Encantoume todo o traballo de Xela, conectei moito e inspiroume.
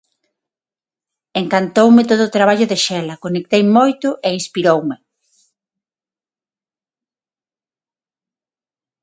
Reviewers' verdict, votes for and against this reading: accepted, 6, 0